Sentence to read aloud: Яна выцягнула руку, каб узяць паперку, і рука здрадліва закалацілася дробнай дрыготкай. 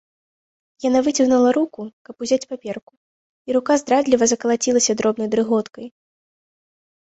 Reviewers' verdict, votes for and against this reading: rejected, 1, 2